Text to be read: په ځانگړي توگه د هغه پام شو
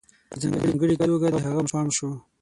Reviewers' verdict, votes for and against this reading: rejected, 0, 6